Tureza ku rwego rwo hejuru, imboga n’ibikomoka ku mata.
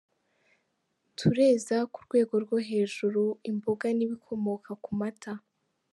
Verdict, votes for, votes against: accepted, 2, 0